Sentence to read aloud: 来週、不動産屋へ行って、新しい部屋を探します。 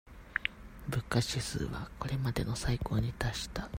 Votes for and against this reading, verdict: 0, 2, rejected